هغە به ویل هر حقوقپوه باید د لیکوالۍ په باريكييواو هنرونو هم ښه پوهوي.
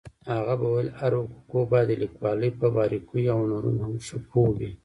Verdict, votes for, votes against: rejected, 1, 2